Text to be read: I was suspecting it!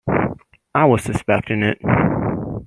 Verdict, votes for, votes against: accepted, 2, 0